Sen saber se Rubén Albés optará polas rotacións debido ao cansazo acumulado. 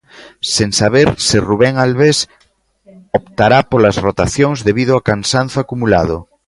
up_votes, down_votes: 1, 2